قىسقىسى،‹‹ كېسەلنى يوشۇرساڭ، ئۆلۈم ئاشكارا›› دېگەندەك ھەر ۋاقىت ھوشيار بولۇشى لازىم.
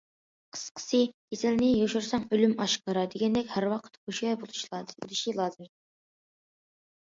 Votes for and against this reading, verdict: 0, 2, rejected